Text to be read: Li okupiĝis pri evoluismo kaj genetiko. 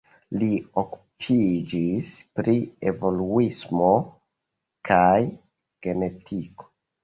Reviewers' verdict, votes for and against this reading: accepted, 2, 0